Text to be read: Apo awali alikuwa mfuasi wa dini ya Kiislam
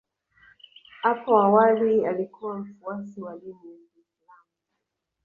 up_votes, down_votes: 0, 2